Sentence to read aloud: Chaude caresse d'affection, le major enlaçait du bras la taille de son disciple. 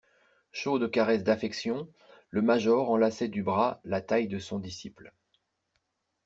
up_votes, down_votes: 2, 0